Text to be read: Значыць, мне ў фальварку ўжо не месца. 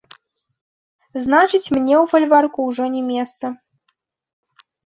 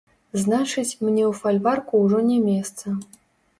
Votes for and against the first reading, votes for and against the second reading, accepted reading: 2, 0, 0, 2, first